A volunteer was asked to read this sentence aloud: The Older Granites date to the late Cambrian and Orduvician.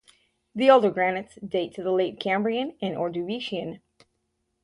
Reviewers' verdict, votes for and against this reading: accepted, 6, 0